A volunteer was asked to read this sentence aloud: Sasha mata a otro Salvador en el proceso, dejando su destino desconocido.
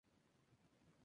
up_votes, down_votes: 0, 2